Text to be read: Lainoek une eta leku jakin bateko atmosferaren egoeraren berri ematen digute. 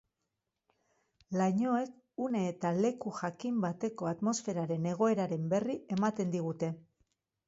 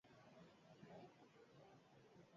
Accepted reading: first